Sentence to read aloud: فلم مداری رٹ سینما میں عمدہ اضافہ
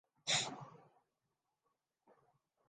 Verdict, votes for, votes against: rejected, 0, 2